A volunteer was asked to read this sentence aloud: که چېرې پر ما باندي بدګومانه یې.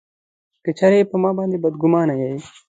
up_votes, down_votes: 2, 0